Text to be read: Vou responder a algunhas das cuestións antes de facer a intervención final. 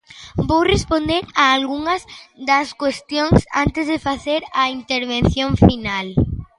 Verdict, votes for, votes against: accepted, 2, 0